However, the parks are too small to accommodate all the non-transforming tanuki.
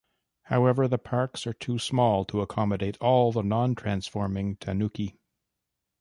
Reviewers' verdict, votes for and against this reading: accepted, 2, 1